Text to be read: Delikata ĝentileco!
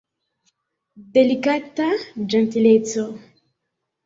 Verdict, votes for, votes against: rejected, 1, 2